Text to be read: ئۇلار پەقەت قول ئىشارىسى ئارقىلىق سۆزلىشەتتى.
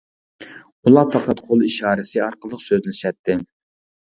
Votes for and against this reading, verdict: 0, 2, rejected